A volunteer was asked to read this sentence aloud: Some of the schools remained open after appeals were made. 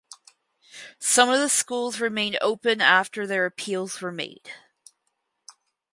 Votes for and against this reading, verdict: 0, 2, rejected